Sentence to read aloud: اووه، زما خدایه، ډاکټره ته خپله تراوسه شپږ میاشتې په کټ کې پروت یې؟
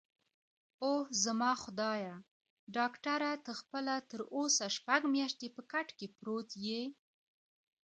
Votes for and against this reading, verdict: 2, 1, accepted